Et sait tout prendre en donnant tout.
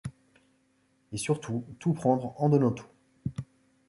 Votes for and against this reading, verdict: 0, 2, rejected